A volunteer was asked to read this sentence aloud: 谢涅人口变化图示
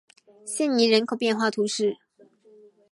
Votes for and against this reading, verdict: 4, 0, accepted